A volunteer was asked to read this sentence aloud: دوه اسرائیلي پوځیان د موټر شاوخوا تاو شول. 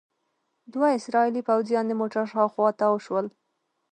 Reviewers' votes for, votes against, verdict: 2, 1, accepted